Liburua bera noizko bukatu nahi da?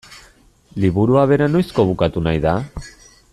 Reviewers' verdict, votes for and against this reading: accepted, 2, 0